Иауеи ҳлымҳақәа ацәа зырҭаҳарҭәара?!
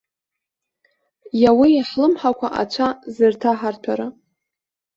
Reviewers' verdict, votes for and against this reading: accepted, 2, 0